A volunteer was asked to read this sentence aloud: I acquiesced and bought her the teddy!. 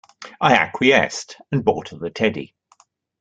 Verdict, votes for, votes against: accepted, 2, 0